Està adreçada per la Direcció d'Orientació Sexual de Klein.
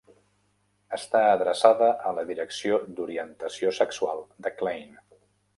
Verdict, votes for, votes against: rejected, 0, 2